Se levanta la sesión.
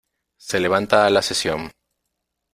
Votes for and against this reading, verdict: 2, 1, accepted